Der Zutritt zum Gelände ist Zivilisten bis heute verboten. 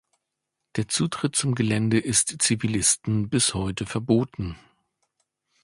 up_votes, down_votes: 2, 0